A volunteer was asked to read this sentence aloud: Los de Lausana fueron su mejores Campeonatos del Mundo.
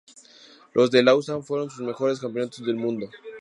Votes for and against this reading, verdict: 2, 0, accepted